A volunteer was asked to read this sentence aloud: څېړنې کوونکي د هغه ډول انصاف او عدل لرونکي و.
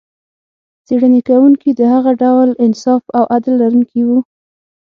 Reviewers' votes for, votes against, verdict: 6, 0, accepted